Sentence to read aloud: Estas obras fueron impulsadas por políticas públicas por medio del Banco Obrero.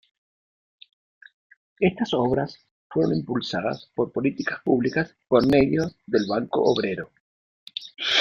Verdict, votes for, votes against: accepted, 2, 1